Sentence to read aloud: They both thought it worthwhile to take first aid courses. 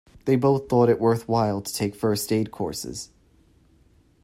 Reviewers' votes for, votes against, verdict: 2, 0, accepted